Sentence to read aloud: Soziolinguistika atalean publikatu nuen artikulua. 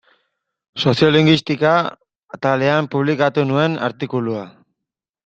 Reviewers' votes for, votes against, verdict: 0, 2, rejected